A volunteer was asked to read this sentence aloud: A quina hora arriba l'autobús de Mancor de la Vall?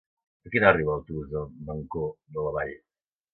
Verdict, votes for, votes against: rejected, 1, 2